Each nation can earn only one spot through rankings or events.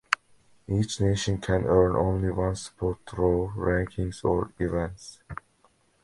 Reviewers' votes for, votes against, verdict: 2, 0, accepted